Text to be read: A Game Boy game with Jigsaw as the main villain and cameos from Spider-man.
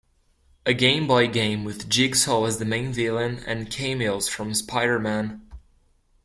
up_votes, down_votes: 2, 0